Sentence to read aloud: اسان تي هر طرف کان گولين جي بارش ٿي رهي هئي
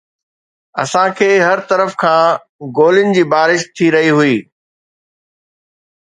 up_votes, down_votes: 2, 0